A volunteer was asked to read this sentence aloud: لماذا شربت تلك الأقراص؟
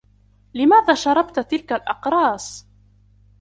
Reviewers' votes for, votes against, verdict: 1, 2, rejected